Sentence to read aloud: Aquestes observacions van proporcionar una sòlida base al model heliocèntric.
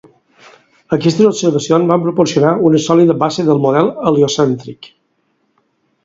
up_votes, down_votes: 2, 4